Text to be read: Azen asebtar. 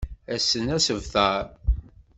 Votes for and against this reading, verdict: 0, 2, rejected